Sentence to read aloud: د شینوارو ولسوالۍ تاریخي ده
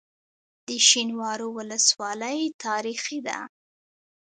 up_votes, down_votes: 3, 0